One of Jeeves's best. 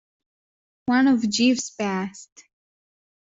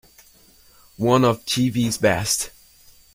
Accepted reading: second